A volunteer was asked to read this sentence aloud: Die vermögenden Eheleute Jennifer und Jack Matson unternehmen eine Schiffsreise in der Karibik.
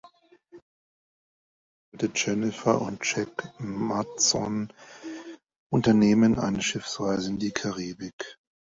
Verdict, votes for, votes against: rejected, 0, 2